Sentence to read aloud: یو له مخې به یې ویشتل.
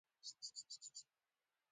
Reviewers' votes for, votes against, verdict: 0, 2, rejected